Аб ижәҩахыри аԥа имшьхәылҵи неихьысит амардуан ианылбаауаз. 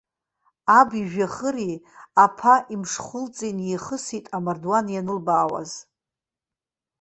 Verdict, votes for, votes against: rejected, 1, 2